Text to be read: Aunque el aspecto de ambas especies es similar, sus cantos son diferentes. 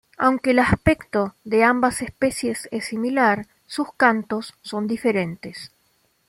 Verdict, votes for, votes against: accepted, 2, 0